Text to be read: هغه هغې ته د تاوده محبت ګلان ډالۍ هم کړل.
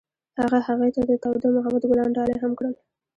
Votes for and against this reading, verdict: 2, 0, accepted